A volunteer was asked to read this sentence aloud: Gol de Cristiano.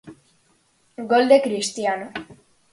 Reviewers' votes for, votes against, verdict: 4, 0, accepted